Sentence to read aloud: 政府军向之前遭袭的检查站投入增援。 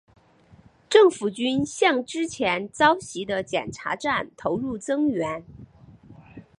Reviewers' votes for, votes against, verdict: 4, 0, accepted